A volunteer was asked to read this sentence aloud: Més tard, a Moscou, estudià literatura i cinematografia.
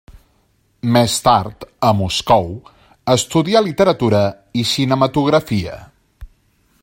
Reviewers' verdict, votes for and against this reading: accepted, 3, 0